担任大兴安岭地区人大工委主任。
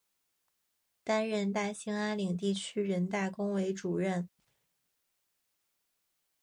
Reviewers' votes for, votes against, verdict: 2, 0, accepted